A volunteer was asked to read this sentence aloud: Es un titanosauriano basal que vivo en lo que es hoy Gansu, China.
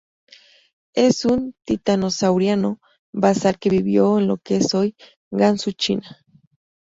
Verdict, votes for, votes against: rejected, 0, 2